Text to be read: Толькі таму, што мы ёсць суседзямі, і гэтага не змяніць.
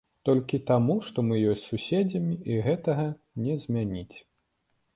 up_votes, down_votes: 2, 0